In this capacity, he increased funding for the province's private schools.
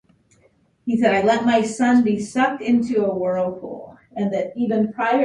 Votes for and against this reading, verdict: 0, 2, rejected